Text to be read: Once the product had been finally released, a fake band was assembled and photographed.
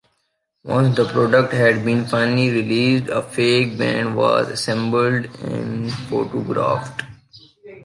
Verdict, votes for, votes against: accepted, 2, 0